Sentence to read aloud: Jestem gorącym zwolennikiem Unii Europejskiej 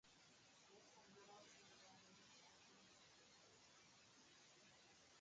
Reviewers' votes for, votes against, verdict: 0, 2, rejected